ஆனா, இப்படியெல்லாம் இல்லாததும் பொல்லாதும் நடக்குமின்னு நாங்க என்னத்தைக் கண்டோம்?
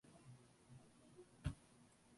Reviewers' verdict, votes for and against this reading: rejected, 0, 2